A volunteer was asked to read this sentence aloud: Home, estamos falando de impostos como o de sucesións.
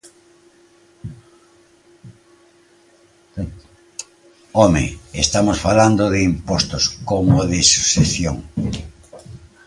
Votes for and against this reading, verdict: 0, 2, rejected